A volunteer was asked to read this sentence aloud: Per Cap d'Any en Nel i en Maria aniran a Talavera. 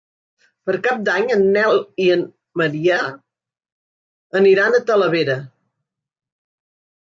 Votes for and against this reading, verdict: 3, 1, accepted